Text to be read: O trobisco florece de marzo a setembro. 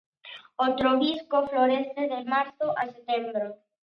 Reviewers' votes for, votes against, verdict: 2, 0, accepted